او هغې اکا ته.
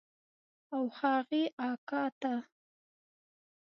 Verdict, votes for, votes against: accepted, 2, 0